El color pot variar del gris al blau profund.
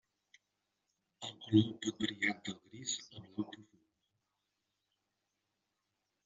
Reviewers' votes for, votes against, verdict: 0, 2, rejected